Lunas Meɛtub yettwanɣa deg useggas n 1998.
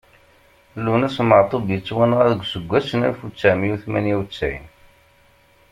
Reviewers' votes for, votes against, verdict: 0, 2, rejected